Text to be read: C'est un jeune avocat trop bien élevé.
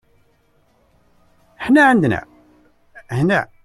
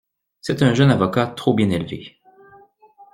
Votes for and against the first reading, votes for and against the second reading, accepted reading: 0, 2, 2, 0, second